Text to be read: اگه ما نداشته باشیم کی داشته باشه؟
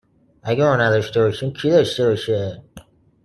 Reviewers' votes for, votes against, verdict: 2, 0, accepted